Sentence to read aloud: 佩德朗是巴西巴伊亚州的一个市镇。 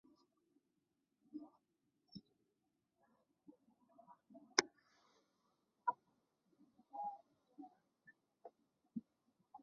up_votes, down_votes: 0, 2